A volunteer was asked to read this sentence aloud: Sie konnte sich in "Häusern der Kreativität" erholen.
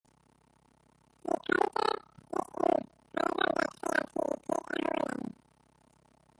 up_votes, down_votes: 0, 2